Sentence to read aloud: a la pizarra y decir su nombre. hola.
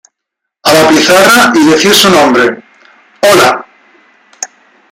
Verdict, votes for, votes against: accepted, 2, 1